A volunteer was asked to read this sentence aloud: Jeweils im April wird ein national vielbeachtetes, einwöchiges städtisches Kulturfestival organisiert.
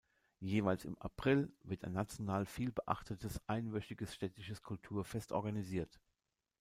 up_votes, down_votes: 1, 2